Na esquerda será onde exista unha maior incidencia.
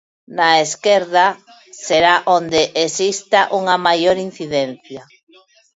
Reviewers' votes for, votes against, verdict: 1, 2, rejected